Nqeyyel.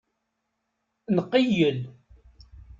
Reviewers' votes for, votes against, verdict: 2, 0, accepted